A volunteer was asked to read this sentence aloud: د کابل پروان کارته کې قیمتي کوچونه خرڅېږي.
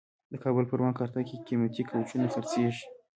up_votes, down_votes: 2, 0